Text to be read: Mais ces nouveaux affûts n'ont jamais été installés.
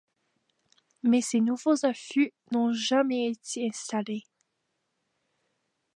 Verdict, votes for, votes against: accepted, 2, 0